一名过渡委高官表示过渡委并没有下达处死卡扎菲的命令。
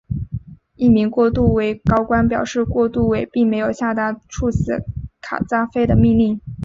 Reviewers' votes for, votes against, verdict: 3, 0, accepted